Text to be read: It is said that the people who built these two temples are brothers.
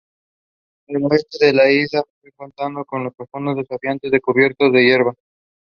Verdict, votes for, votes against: rejected, 0, 2